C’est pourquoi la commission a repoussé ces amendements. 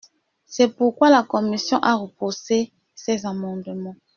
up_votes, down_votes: 1, 2